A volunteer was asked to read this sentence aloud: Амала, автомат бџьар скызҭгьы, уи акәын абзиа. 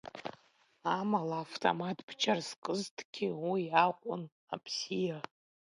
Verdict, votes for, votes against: accepted, 2, 1